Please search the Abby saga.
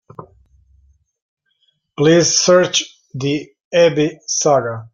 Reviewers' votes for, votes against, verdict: 2, 0, accepted